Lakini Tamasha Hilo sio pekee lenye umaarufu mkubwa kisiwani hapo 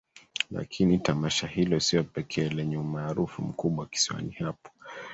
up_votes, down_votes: 1, 2